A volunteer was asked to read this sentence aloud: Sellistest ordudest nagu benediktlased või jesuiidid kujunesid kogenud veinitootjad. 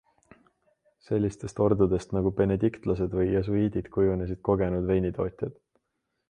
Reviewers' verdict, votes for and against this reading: accepted, 2, 0